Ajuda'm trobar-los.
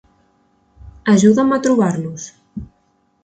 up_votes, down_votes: 1, 2